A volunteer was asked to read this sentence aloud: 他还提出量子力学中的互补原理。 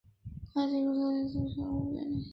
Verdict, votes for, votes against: rejected, 0, 2